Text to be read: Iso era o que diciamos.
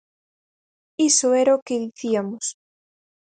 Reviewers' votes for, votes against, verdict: 0, 4, rejected